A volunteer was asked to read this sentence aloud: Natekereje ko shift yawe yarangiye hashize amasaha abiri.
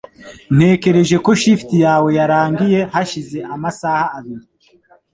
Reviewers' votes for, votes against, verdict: 1, 2, rejected